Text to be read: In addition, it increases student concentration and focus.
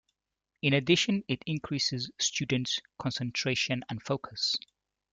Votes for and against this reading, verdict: 0, 3, rejected